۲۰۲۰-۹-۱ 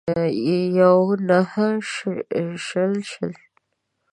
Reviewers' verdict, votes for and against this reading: rejected, 0, 2